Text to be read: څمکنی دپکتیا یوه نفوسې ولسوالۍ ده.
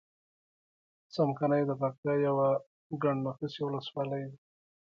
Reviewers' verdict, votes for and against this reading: accepted, 2, 0